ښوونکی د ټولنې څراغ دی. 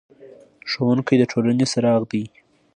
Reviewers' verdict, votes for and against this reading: accepted, 2, 0